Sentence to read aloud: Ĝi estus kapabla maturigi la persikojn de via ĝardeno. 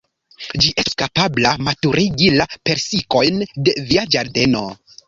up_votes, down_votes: 1, 2